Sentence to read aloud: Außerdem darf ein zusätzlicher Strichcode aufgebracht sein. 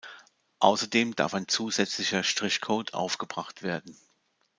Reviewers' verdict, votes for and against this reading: rejected, 1, 2